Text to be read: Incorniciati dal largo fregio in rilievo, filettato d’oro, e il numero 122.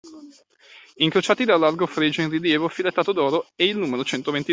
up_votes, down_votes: 0, 2